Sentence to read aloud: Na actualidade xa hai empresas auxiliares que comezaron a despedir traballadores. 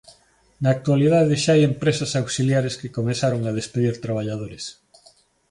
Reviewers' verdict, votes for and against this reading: accepted, 2, 0